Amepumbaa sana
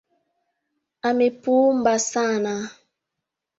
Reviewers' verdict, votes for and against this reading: rejected, 2, 3